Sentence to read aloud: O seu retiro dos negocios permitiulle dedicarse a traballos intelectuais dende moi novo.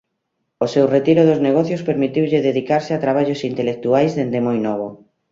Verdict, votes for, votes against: accepted, 2, 0